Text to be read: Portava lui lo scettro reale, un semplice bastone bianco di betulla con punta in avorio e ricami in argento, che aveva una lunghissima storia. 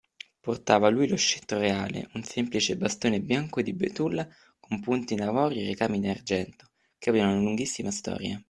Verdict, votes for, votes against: accepted, 2, 0